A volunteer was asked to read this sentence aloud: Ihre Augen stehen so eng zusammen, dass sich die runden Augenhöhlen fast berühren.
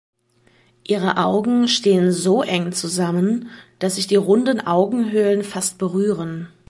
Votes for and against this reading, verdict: 2, 0, accepted